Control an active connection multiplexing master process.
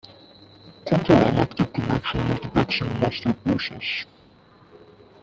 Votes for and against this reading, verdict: 0, 2, rejected